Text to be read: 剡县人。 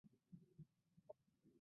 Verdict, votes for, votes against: accepted, 2, 1